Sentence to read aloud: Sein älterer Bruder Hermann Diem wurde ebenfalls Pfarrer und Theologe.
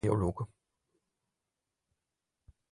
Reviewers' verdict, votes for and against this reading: rejected, 0, 4